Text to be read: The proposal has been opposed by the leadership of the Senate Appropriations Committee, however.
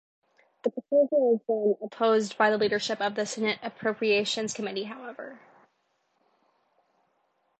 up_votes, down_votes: 2, 0